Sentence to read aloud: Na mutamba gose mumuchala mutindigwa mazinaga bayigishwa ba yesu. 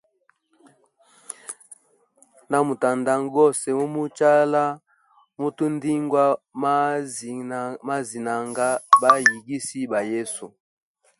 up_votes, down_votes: 1, 2